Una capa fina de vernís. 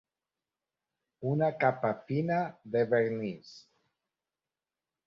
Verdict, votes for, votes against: rejected, 0, 2